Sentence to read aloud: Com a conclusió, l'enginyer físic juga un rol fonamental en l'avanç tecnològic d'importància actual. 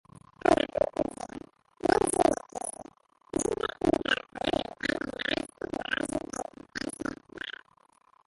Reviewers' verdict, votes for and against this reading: rejected, 0, 3